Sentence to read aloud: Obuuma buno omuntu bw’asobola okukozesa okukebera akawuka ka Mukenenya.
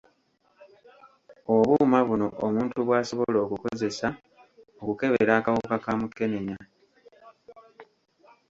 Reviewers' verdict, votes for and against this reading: rejected, 1, 2